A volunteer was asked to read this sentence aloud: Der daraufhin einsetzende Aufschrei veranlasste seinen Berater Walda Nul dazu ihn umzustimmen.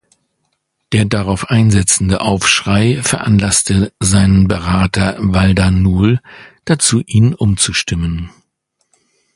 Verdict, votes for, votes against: rejected, 0, 2